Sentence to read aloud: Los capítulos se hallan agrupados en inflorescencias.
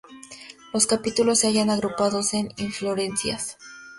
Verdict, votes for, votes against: rejected, 2, 2